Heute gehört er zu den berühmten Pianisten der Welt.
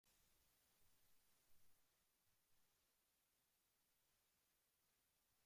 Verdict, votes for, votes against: rejected, 0, 2